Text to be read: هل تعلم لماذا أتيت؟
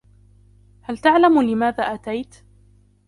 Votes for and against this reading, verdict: 2, 1, accepted